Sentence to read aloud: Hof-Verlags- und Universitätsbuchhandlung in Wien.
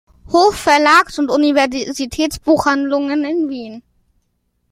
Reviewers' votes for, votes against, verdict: 0, 2, rejected